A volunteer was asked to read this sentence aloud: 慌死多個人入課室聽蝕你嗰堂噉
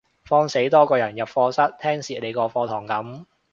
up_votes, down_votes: 1, 2